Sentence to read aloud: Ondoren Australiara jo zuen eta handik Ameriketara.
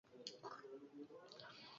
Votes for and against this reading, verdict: 0, 4, rejected